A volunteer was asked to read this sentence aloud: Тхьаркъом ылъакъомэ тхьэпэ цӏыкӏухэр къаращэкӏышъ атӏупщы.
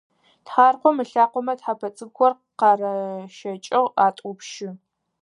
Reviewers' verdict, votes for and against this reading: rejected, 2, 4